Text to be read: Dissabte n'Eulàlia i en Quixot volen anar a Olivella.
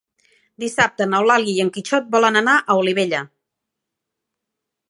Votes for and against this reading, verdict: 2, 0, accepted